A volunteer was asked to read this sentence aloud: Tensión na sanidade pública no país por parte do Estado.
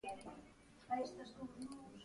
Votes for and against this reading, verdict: 0, 2, rejected